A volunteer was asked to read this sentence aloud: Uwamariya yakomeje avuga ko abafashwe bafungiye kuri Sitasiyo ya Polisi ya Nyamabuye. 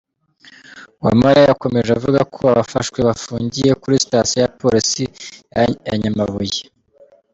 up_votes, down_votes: 2, 0